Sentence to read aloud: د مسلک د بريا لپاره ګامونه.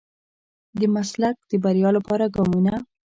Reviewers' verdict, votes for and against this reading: rejected, 1, 2